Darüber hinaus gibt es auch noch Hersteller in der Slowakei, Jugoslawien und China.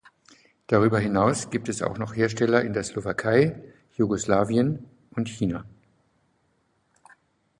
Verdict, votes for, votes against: accepted, 2, 0